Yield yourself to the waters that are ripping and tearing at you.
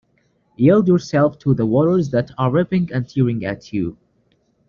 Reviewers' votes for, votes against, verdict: 2, 0, accepted